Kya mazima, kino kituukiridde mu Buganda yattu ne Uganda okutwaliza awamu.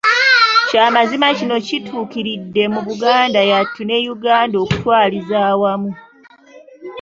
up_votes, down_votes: 1, 2